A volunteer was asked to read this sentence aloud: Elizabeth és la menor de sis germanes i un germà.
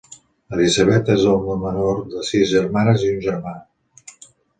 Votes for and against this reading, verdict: 1, 2, rejected